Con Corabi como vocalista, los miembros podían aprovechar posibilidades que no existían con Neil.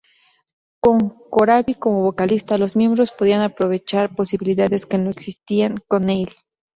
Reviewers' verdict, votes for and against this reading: accepted, 2, 0